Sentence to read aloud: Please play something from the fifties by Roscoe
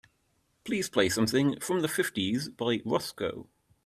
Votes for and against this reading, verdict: 3, 0, accepted